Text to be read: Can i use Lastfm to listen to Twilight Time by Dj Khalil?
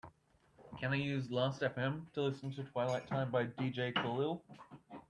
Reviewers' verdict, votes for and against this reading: accepted, 2, 0